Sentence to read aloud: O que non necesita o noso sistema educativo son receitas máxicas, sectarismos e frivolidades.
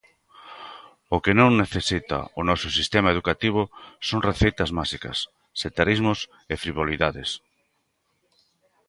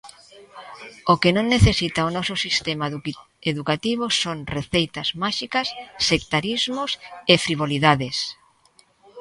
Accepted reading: first